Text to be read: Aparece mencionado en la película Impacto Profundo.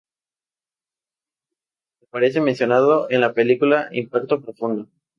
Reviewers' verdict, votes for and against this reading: accepted, 2, 0